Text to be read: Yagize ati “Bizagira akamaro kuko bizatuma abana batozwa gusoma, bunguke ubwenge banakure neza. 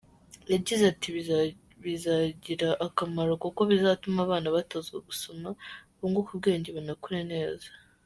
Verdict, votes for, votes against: accepted, 2, 1